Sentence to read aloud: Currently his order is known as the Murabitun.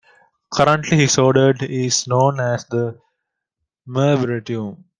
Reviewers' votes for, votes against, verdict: 0, 2, rejected